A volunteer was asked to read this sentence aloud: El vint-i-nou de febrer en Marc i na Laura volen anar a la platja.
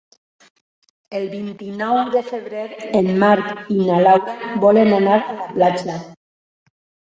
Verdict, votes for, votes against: accepted, 2, 1